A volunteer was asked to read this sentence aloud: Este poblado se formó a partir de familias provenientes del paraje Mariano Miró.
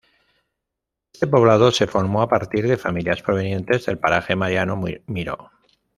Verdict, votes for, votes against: rejected, 1, 2